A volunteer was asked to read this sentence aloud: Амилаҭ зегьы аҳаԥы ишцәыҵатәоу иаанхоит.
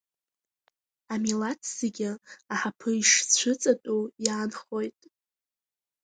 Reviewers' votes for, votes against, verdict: 2, 0, accepted